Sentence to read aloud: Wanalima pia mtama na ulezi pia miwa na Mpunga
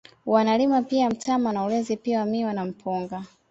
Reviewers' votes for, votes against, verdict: 2, 0, accepted